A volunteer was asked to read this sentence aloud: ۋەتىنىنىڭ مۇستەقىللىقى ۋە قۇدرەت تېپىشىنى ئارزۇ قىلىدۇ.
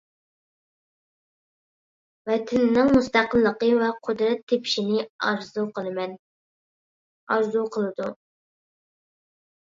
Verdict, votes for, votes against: rejected, 0, 2